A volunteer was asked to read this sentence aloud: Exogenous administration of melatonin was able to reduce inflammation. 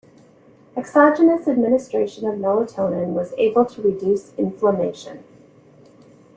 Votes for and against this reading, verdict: 2, 0, accepted